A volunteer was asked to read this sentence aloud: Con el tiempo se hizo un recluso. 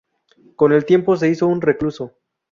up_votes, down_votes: 0, 2